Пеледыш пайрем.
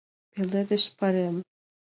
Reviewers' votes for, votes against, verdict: 2, 0, accepted